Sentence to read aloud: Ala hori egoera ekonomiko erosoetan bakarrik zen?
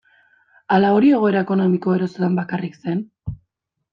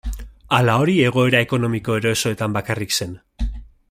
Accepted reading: second